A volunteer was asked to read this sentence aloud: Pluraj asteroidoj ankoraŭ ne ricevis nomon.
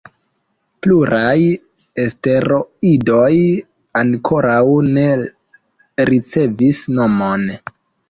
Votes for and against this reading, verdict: 0, 2, rejected